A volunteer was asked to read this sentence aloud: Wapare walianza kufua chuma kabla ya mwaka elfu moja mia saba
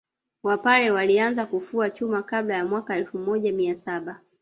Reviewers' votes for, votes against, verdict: 2, 1, accepted